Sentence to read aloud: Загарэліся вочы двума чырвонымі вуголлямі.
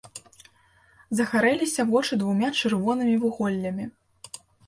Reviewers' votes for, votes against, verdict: 1, 2, rejected